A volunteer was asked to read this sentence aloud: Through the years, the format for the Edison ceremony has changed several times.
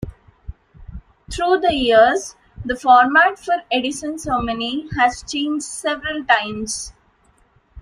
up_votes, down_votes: 1, 2